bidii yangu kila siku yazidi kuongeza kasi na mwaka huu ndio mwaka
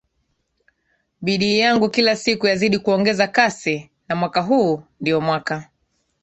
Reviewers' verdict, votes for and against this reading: accepted, 2, 1